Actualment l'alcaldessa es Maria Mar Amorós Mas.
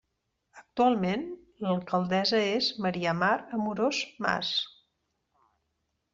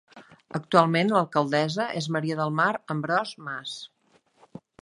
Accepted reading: first